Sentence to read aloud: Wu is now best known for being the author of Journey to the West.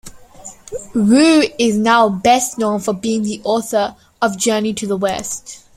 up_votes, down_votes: 2, 0